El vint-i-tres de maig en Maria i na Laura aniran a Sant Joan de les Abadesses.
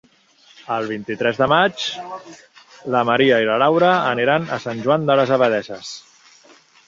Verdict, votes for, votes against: rejected, 1, 2